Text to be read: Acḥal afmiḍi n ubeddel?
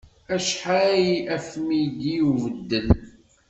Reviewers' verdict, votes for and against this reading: rejected, 1, 2